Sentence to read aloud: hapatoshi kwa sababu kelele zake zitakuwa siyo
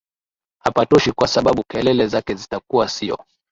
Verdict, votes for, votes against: accepted, 3, 0